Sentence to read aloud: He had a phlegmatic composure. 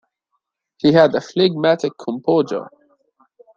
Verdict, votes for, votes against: rejected, 1, 2